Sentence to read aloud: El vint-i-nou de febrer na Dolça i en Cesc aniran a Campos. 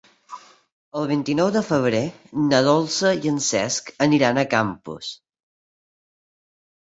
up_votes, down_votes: 4, 0